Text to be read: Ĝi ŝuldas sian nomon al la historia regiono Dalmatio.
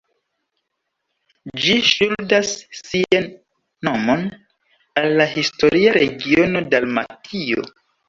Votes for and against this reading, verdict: 1, 2, rejected